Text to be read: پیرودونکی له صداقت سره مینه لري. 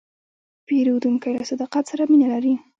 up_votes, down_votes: 2, 1